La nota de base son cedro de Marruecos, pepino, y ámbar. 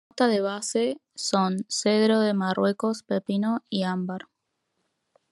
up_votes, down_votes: 1, 2